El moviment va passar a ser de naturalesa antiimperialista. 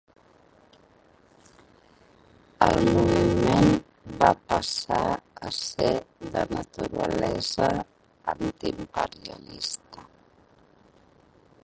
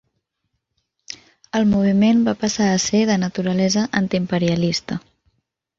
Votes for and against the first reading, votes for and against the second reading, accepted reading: 0, 2, 3, 0, second